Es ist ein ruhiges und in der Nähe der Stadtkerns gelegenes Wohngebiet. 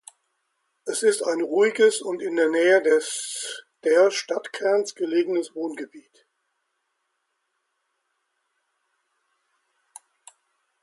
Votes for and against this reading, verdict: 0, 2, rejected